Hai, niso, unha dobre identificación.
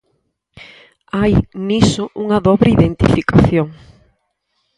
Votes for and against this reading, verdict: 4, 0, accepted